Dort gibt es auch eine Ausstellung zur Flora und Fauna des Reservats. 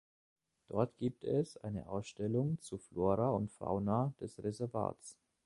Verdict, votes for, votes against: accepted, 2, 0